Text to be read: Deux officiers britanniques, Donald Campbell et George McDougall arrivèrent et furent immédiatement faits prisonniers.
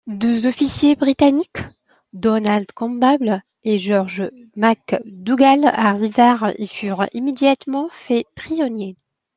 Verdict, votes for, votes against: accepted, 2, 0